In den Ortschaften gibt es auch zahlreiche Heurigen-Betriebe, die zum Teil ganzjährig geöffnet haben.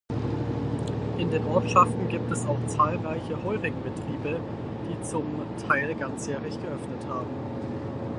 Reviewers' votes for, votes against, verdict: 4, 2, accepted